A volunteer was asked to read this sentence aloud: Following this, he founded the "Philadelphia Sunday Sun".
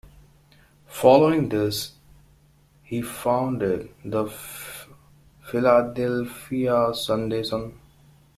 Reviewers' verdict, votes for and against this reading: accepted, 2, 1